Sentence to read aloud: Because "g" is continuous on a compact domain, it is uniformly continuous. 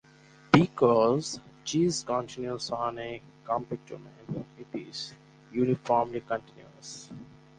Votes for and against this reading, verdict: 2, 2, rejected